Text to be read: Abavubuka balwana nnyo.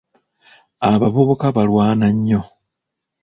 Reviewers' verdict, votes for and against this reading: accepted, 2, 0